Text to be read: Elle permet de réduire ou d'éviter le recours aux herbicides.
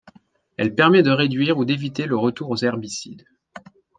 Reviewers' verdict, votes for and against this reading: rejected, 1, 3